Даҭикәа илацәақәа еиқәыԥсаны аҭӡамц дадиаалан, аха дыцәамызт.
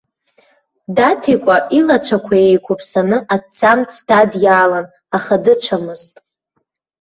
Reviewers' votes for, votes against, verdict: 1, 2, rejected